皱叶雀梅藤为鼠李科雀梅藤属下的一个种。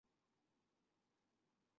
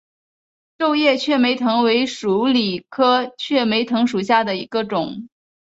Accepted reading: second